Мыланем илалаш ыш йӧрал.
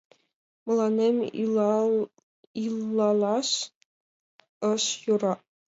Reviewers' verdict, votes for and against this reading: rejected, 0, 2